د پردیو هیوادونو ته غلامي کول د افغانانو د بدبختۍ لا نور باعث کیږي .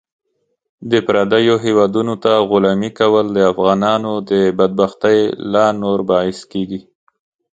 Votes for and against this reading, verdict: 2, 0, accepted